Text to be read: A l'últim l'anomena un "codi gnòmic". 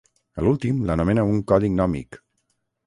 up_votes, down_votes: 6, 0